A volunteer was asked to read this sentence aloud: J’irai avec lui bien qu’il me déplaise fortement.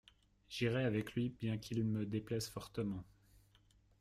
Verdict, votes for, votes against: accepted, 2, 0